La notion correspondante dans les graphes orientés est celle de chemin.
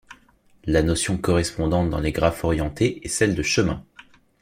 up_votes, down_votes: 2, 0